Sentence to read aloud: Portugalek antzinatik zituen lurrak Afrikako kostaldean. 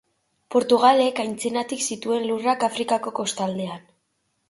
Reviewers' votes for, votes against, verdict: 2, 1, accepted